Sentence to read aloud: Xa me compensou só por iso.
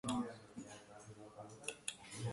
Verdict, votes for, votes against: rejected, 0, 2